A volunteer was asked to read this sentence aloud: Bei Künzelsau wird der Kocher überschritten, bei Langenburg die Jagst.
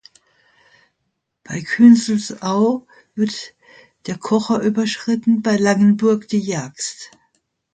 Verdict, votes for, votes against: accepted, 2, 0